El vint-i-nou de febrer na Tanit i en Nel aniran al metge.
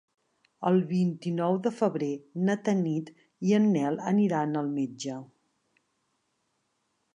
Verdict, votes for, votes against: accepted, 3, 0